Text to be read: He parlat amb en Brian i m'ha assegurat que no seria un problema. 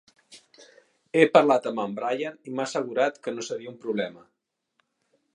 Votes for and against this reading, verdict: 3, 0, accepted